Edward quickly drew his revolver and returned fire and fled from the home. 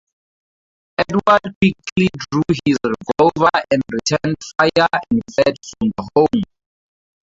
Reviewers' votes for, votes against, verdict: 0, 4, rejected